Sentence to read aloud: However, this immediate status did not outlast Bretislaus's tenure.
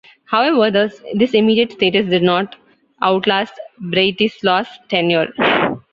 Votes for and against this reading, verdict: 0, 2, rejected